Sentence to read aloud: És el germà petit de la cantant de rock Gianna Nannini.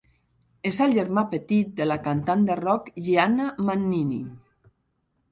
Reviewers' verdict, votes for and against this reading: rejected, 1, 2